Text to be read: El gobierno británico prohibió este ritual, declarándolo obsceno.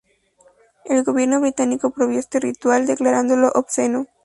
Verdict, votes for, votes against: rejected, 0, 2